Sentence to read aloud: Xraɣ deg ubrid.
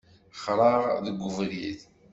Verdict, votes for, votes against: accepted, 2, 0